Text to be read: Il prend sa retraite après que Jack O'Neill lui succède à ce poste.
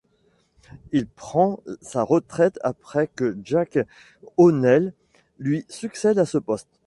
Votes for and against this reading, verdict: 1, 2, rejected